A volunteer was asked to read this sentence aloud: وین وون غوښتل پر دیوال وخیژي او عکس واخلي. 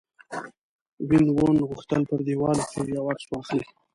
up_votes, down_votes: 1, 2